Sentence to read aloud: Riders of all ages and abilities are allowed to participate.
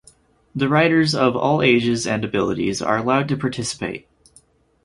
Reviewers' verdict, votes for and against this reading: rejected, 2, 4